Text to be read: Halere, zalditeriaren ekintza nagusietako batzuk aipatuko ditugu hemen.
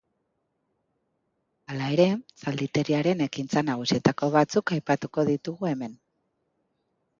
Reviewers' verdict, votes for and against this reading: rejected, 1, 2